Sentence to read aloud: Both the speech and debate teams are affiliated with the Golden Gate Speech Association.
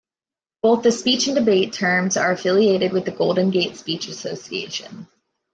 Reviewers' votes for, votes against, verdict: 1, 2, rejected